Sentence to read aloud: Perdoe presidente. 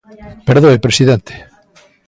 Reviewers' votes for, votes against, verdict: 0, 2, rejected